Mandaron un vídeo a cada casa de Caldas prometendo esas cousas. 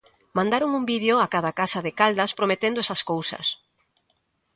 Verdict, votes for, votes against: accepted, 2, 0